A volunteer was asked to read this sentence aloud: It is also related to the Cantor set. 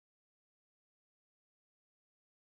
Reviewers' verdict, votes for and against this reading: rejected, 0, 2